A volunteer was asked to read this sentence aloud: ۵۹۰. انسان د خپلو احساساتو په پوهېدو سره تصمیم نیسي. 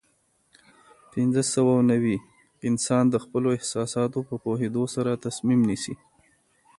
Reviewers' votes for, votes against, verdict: 0, 2, rejected